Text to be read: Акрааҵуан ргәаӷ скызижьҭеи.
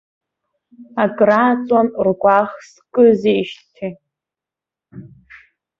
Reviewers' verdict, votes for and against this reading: accepted, 2, 0